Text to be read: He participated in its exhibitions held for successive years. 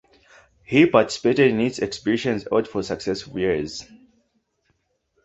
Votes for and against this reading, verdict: 0, 2, rejected